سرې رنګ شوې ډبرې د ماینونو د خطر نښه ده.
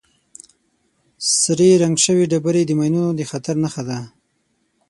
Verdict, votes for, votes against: accepted, 6, 0